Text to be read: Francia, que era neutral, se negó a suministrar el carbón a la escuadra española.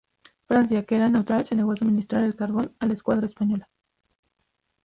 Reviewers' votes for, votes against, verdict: 0, 2, rejected